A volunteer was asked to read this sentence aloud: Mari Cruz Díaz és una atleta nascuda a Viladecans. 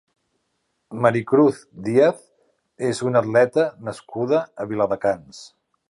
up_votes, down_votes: 3, 0